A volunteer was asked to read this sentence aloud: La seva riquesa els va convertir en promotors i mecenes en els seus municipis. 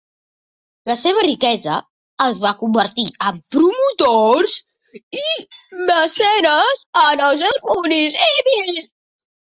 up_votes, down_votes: 0, 2